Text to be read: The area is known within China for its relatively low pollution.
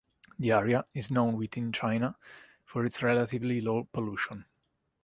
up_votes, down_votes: 3, 0